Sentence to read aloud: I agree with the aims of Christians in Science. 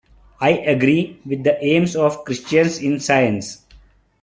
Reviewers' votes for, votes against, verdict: 2, 1, accepted